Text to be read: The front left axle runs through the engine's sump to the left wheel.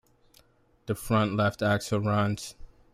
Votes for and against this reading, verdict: 0, 2, rejected